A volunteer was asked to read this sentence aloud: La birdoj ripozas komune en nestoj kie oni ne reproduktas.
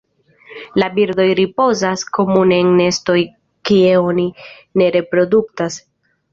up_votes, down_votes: 2, 0